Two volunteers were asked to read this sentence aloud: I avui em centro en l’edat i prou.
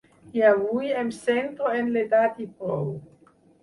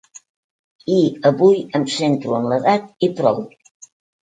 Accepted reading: second